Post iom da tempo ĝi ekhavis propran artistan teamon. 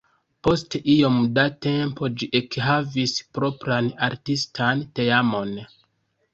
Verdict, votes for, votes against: rejected, 1, 2